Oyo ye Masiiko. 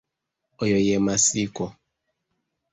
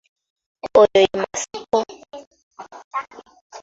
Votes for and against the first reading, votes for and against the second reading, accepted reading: 1, 2, 3, 2, second